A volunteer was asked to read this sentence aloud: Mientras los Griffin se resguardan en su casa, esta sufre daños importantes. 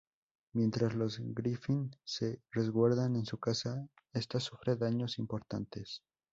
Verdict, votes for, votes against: accepted, 2, 0